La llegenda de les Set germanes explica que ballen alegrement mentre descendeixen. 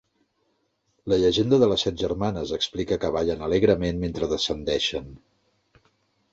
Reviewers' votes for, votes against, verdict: 3, 0, accepted